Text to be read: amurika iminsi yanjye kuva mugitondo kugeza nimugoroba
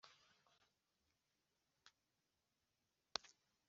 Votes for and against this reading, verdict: 2, 0, accepted